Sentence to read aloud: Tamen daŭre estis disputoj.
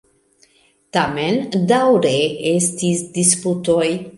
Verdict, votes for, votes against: accepted, 2, 1